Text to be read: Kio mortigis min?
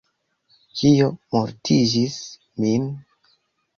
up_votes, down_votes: 0, 2